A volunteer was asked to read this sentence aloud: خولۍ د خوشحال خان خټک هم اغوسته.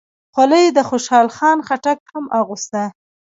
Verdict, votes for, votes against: rejected, 1, 2